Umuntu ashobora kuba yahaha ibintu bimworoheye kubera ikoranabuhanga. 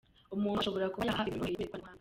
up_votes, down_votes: 0, 2